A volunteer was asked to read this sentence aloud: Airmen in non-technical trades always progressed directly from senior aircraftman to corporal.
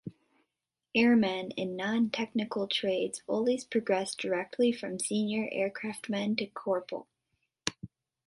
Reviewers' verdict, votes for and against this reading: accepted, 3, 0